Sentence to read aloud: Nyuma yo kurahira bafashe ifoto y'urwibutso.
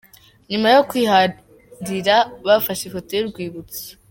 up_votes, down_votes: 1, 3